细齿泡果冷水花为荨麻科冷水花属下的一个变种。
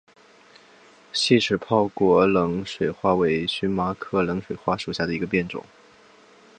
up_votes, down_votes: 3, 2